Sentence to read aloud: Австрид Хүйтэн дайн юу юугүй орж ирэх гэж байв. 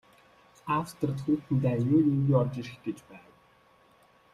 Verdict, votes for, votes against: rejected, 0, 2